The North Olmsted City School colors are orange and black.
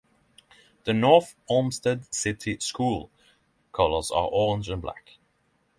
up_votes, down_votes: 6, 0